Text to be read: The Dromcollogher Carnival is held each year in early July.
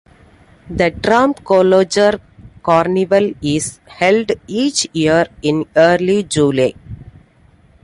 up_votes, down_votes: 2, 1